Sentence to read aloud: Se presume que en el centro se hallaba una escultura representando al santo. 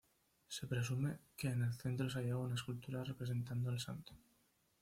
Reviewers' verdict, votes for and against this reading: accepted, 2, 0